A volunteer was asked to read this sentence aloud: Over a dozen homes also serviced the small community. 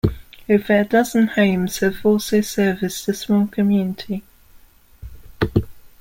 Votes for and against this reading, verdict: 1, 2, rejected